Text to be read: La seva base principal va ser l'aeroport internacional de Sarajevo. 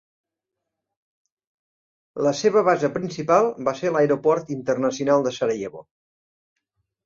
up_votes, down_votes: 3, 0